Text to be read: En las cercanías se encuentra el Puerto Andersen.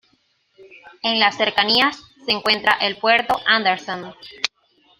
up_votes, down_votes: 2, 0